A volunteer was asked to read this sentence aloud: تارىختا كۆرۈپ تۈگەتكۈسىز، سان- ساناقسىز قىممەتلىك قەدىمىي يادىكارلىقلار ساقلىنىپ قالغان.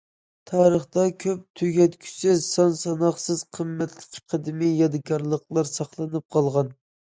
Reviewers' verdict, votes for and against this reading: rejected, 0, 2